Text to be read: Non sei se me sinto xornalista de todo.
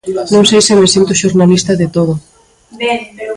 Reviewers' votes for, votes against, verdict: 0, 2, rejected